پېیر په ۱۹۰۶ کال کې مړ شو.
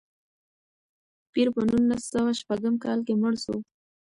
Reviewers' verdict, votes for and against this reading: rejected, 0, 2